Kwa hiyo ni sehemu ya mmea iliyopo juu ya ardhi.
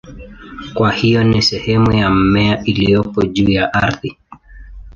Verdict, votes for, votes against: accepted, 2, 0